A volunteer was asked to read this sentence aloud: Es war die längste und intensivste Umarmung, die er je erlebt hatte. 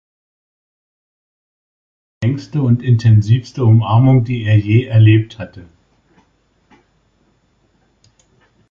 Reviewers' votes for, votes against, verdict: 0, 2, rejected